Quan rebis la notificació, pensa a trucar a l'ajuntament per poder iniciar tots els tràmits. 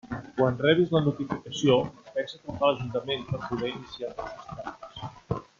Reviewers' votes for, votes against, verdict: 0, 2, rejected